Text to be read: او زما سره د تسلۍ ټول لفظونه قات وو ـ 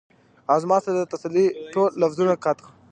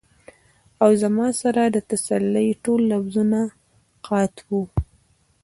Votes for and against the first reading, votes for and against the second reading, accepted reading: 2, 1, 1, 2, first